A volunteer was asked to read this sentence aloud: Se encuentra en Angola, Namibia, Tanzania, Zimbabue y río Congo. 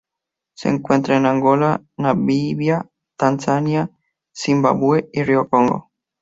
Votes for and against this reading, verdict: 2, 0, accepted